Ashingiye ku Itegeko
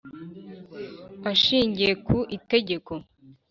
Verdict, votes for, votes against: accepted, 3, 0